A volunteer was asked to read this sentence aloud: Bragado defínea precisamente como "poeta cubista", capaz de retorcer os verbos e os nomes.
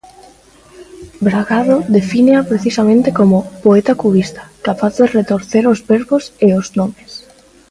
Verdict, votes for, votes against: accepted, 2, 0